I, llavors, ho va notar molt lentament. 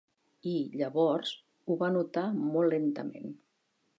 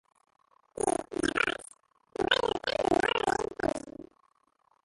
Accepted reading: first